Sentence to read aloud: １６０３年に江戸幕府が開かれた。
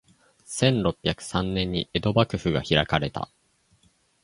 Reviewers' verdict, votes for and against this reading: rejected, 0, 2